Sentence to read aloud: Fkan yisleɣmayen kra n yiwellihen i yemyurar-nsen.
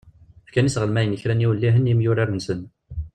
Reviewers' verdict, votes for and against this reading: rejected, 0, 2